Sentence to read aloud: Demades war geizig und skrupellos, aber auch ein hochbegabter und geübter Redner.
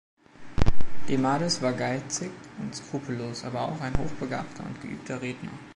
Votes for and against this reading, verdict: 2, 0, accepted